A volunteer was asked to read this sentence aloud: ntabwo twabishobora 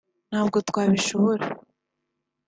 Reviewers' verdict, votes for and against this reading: accepted, 2, 1